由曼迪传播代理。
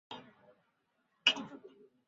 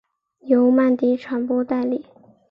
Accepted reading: second